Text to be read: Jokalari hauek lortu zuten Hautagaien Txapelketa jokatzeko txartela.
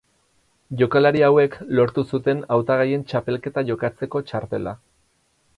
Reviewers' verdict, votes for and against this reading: accepted, 2, 0